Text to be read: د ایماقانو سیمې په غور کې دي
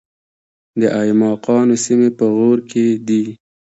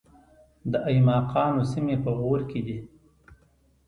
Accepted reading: second